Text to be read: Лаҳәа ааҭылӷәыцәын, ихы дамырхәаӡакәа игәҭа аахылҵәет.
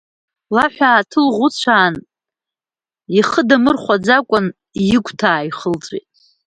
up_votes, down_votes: 1, 2